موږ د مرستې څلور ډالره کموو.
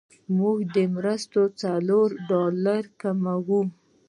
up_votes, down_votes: 0, 2